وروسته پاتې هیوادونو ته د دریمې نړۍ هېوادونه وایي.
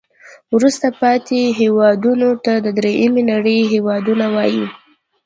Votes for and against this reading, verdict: 2, 0, accepted